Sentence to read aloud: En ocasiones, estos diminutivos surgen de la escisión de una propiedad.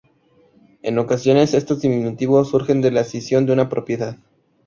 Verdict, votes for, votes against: accepted, 2, 0